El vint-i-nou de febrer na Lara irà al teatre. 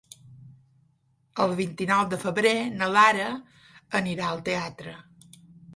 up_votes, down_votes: 1, 3